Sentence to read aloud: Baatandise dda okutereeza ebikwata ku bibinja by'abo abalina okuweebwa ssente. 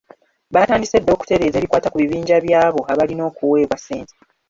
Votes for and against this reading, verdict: 0, 2, rejected